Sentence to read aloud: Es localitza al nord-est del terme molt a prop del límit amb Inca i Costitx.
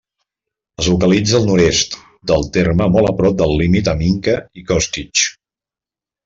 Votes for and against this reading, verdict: 1, 2, rejected